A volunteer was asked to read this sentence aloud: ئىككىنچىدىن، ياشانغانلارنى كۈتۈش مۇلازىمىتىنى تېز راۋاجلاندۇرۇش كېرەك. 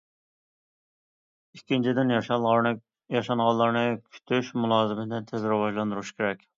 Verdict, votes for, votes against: rejected, 1, 2